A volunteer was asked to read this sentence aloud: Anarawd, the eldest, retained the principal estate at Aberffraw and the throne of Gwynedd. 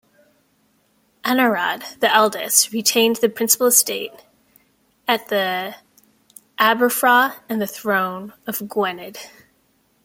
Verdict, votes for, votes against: rejected, 0, 2